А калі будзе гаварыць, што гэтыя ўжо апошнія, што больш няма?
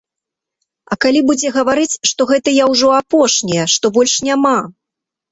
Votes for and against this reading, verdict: 2, 0, accepted